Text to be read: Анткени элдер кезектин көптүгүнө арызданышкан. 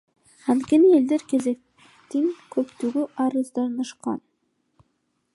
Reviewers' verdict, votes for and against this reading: rejected, 0, 2